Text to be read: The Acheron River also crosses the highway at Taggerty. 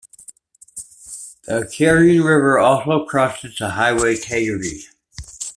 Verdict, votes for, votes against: rejected, 1, 2